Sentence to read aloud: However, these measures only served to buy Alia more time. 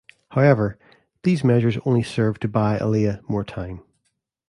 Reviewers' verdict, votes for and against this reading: accepted, 2, 0